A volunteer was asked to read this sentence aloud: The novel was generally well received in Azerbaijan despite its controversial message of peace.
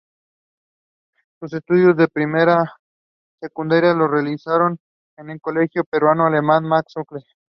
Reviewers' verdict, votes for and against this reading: rejected, 0, 3